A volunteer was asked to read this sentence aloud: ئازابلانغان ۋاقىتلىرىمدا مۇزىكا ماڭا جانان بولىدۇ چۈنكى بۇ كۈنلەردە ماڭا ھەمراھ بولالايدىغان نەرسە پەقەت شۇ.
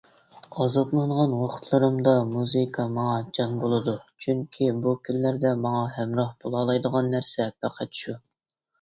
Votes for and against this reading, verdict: 0, 2, rejected